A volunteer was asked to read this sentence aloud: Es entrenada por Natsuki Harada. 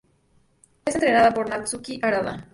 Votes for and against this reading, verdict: 4, 0, accepted